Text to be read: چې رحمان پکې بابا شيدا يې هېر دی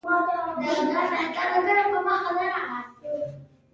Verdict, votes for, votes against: rejected, 1, 2